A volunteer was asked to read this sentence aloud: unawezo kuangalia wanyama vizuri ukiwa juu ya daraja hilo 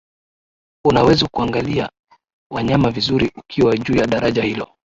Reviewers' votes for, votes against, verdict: 0, 2, rejected